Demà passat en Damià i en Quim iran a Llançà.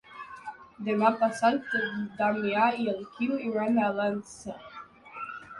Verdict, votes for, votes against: rejected, 0, 2